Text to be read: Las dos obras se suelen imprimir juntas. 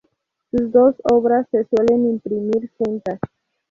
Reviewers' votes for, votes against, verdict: 4, 0, accepted